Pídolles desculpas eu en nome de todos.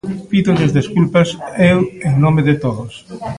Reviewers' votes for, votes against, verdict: 1, 2, rejected